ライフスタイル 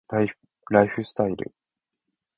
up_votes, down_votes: 0, 2